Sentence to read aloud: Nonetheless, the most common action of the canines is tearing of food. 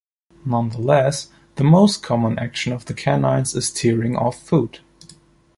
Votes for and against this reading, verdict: 2, 1, accepted